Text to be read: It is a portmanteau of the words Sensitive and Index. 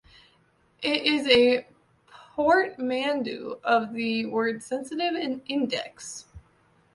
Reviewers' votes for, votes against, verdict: 1, 2, rejected